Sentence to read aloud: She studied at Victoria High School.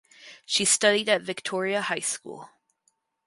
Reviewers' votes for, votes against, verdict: 4, 0, accepted